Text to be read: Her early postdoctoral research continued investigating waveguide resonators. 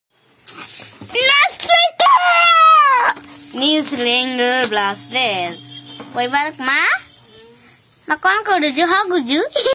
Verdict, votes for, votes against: rejected, 0, 2